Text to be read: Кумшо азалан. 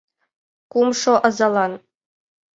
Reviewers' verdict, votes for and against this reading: accepted, 2, 0